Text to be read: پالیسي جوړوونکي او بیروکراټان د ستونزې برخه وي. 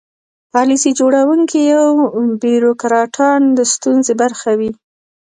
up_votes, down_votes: 1, 2